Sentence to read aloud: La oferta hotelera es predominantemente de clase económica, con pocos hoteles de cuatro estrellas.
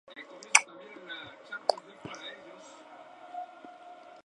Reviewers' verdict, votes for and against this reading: rejected, 0, 2